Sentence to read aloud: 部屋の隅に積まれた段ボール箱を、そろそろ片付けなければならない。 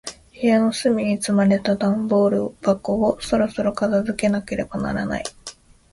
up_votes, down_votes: 2, 0